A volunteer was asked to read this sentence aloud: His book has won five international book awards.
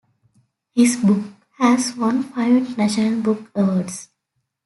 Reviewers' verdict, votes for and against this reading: accepted, 2, 0